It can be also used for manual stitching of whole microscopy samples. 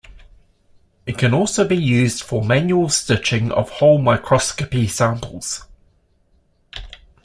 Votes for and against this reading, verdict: 2, 1, accepted